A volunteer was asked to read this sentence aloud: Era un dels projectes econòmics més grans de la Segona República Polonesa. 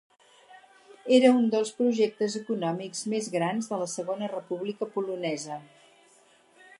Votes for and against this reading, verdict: 4, 0, accepted